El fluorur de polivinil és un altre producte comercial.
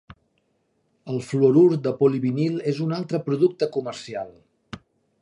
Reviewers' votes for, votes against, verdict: 3, 0, accepted